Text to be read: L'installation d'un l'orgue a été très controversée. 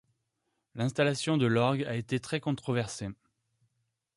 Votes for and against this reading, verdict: 1, 2, rejected